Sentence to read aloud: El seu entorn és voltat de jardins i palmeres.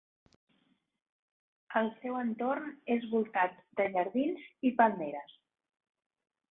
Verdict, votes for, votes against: rejected, 0, 2